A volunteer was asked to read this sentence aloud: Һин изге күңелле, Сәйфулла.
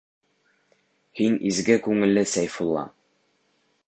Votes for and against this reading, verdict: 1, 2, rejected